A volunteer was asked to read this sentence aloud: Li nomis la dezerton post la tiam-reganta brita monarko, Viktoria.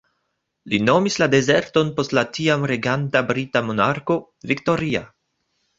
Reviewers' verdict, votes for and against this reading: rejected, 0, 2